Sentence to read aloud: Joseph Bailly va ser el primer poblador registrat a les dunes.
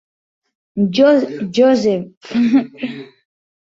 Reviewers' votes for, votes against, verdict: 0, 2, rejected